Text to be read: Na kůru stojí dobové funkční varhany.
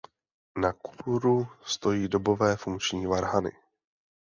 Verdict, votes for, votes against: accepted, 2, 0